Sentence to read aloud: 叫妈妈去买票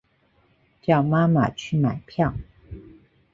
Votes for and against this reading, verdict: 2, 0, accepted